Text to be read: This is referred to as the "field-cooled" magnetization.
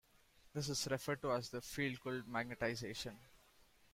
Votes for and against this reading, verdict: 1, 2, rejected